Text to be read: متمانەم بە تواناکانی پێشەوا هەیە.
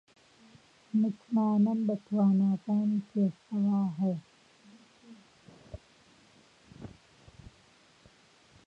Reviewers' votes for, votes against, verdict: 1, 2, rejected